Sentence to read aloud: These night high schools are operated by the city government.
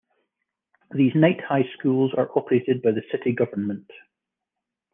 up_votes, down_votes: 2, 0